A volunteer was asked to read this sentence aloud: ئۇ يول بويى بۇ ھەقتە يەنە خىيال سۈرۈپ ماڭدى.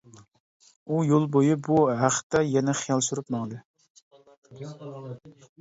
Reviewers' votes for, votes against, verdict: 2, 0, accepted